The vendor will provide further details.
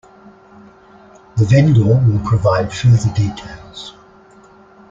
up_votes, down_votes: 1, 2